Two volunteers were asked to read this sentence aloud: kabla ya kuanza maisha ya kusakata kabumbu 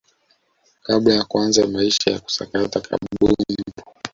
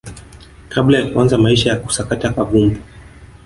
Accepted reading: second